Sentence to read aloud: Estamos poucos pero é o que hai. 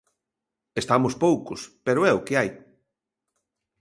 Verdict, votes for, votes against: accepted, 2, 0